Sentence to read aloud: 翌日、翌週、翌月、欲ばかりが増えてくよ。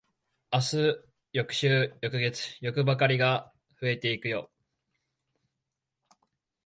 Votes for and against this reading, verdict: 2, 3, rejected